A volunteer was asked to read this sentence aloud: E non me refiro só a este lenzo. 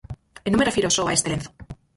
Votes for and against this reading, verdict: 2, 4, rejected